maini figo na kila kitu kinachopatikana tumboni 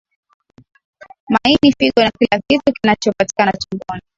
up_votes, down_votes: 1, 2